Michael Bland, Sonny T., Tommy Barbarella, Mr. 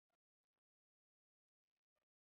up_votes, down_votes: 1, 2